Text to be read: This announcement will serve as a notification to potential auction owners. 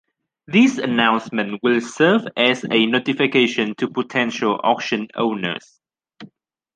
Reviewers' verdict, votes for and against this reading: accepted, 2, 0